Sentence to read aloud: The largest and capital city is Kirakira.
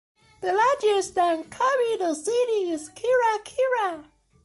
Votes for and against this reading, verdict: 2, 1, accepted